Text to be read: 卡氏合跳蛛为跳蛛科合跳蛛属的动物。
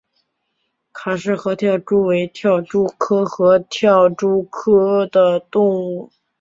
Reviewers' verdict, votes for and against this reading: rejected, 0, 2